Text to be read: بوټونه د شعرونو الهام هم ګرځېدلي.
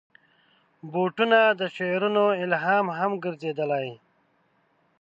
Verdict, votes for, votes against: rejected, 0, 2